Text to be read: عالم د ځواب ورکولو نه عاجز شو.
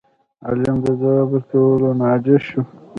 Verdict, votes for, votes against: rejected, 0, 2